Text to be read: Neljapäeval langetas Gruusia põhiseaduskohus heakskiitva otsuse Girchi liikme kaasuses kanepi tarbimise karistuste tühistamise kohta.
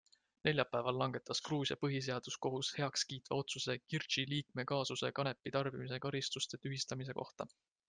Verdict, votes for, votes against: accepted, 2, 0